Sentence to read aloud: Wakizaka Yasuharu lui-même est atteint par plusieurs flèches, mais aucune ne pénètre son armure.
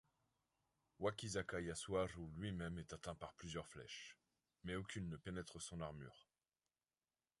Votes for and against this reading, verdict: 2, 1, accepted